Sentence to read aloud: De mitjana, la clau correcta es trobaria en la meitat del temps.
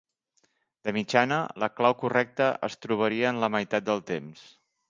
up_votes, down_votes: 5, 0